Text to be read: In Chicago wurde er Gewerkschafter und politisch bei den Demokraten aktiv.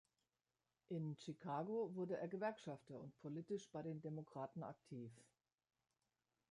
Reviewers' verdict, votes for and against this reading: accepted, 2, 0